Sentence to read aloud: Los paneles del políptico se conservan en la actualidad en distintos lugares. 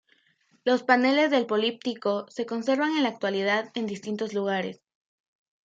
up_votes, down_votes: 2, 0